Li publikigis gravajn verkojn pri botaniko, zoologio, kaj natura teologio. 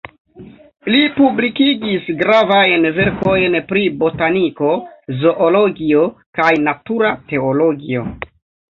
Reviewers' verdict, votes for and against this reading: rejected, 0, 2